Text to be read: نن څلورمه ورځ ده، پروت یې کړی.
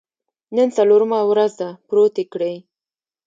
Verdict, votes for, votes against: rejected, 1, 2